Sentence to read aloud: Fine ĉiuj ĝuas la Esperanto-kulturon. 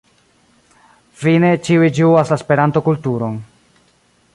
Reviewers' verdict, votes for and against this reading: accepted, 3, 0